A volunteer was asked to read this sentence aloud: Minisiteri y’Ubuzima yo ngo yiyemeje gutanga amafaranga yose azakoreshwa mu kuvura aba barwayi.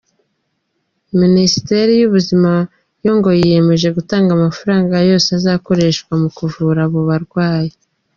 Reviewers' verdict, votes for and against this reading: accepted, 2, 0